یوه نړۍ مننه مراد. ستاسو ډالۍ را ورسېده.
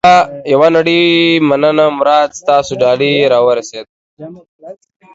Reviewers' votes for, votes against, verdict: 2, 0, accepted